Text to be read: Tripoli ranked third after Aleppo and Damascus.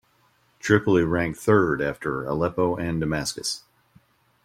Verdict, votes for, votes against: accepted, 2, 0